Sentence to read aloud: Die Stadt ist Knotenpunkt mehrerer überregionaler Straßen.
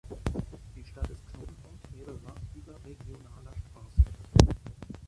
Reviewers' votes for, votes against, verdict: 0, 2, rejected